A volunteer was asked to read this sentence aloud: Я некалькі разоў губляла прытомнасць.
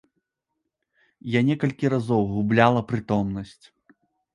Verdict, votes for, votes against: accepted, 2, 0